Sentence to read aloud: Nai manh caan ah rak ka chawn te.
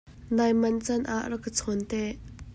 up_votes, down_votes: 2, 0